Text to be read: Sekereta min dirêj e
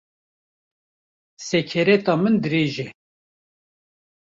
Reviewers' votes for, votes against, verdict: 1, 2, rejected